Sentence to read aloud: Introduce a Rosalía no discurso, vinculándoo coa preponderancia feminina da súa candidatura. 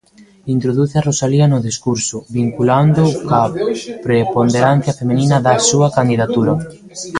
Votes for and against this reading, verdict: 0, 2, rejected